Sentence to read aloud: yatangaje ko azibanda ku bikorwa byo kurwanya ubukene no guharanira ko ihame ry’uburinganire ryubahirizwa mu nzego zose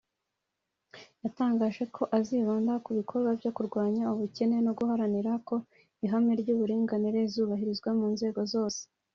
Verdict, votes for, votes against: rejected, 0, 2